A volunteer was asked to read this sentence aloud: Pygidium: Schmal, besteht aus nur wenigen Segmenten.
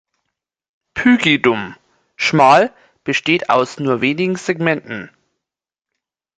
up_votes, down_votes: 1, 2